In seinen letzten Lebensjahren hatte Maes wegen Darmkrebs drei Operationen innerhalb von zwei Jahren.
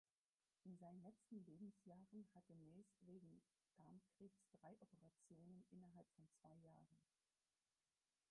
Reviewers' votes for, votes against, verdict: 0, 4, rejected